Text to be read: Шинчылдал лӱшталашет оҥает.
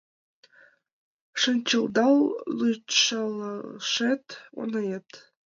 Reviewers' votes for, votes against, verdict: 1, 2, rejected